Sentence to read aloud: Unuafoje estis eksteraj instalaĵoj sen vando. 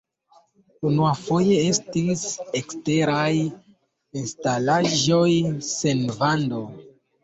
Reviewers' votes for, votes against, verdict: 1, 2, rejected